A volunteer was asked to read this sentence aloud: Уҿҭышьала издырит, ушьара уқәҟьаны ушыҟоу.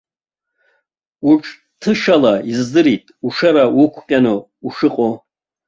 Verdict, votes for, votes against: rejected, 1, 2